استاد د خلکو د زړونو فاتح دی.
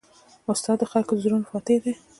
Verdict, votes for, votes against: rejected, 1, 2